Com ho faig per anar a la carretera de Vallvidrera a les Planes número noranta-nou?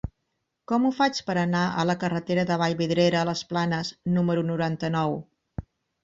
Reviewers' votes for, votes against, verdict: 4, 0, accepted